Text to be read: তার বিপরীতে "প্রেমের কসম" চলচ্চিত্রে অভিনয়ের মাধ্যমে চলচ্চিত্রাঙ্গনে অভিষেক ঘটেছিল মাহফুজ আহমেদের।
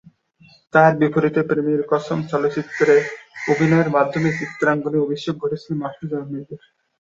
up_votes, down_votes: 0, 2